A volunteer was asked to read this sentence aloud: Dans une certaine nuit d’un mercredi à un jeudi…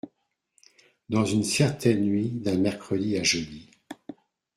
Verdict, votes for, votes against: rejected, 0, 2